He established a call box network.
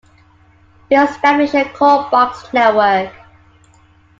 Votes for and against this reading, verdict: 2, 1, accepted